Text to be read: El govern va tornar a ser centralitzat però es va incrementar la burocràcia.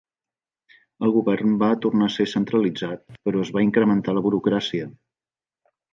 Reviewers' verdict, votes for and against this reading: accepted, 3, 0